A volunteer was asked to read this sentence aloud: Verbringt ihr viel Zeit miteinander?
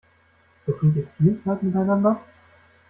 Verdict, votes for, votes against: rejected, 1, 2